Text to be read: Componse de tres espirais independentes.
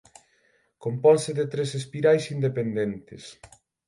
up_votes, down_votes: 9, 0